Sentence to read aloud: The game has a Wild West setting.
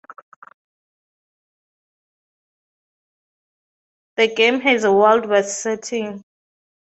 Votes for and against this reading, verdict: 2, 0, accepted